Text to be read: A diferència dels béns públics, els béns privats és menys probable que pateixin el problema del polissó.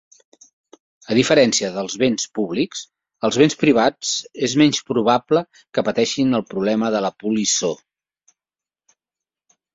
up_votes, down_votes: 0, 2